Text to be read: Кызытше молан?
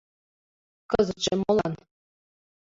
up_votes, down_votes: 2, 1